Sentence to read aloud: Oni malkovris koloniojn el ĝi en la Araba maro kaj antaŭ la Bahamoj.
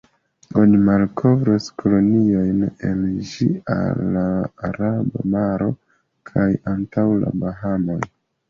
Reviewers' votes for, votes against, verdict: 0, 2, rejected